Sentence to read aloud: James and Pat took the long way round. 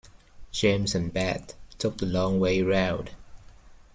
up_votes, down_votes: 1, 2